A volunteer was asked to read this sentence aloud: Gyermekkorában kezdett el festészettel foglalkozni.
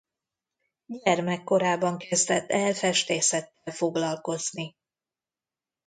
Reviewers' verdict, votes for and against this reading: rejected, 0, 2